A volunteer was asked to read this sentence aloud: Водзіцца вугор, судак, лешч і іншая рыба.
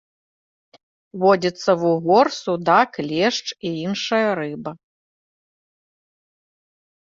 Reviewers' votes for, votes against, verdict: 2, 0, accepted